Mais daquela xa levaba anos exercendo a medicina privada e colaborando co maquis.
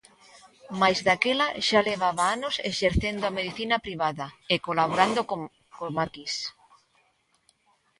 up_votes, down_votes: 0, 2